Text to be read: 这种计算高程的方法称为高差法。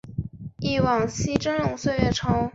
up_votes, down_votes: 0, 2